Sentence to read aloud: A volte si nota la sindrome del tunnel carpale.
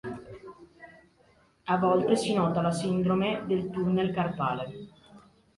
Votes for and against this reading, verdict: 3, 0, accepted